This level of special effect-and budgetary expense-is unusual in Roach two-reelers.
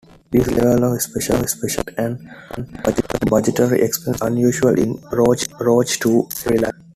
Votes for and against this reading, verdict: 0, 2, rejected